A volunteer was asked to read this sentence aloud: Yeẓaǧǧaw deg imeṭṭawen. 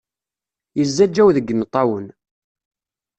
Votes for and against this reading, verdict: 2, 0, accepted